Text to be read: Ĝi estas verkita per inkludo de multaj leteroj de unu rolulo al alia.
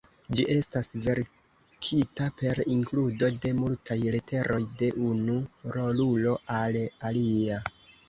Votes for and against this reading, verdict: 2, 1, accepted